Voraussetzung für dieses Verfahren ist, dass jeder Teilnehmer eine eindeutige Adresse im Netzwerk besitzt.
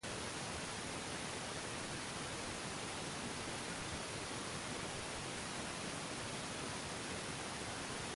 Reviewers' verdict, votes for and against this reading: rejected, 0, 2